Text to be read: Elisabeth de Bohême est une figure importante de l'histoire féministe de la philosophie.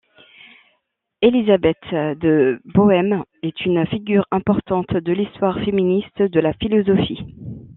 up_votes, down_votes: 2, 0